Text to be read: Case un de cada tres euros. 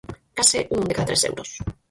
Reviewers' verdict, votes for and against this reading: rejected, 0, 4